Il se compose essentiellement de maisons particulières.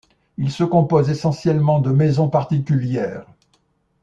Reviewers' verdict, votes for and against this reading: accepted, 2, 0